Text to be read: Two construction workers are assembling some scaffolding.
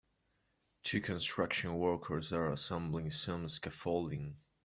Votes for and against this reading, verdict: 2, 0, accepted